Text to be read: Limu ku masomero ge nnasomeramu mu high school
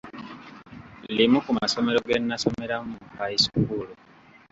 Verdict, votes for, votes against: accepted, 2, 0